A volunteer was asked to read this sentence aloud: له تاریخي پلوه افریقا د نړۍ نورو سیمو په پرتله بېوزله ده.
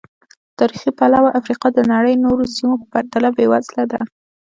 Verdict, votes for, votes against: rejected, 1, 2